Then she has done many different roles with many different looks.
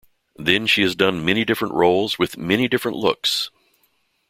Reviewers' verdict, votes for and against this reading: accepted, 2, 0